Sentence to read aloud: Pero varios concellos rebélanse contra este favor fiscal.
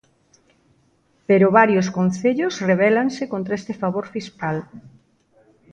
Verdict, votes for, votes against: accepted, 2, 0